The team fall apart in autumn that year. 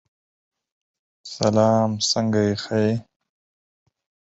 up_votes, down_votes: 0, 4